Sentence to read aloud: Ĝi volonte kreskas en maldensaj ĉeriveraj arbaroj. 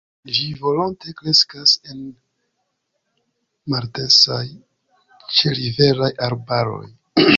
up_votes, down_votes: 1, 2